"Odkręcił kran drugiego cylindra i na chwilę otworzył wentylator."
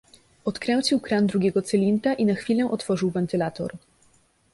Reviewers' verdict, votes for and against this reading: accepted, 2, 0